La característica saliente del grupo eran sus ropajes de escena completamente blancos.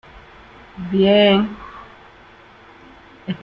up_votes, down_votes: 0, 2